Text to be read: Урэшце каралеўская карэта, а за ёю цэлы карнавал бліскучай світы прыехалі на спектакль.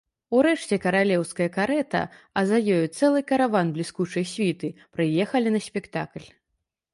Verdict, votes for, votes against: rejected, 0, 2